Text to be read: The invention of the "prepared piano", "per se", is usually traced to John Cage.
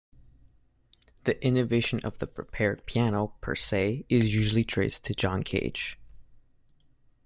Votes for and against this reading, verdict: 0, 2, rejected